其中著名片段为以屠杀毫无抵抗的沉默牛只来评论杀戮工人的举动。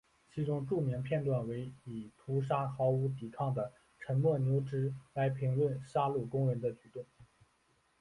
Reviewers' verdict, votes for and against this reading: accepted, 2, 0